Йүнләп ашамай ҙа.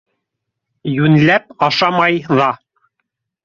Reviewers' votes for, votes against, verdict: 0, 2, rejected